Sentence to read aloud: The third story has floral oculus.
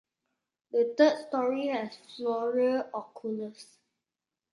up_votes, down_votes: 2, 1